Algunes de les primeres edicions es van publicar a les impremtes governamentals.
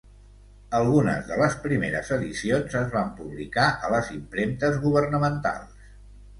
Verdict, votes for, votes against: accepted, 2, 0